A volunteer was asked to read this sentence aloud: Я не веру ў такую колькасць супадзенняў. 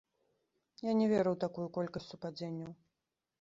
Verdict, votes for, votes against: accepted, 2, 0